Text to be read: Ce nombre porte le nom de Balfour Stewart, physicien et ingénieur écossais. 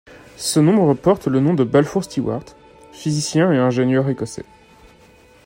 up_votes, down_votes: 2, 0